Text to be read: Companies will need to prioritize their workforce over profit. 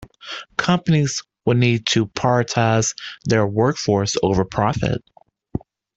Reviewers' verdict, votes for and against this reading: rejected, 1, 2